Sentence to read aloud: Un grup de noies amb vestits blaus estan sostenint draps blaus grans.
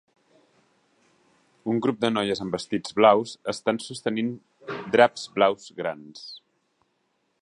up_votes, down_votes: 3, 0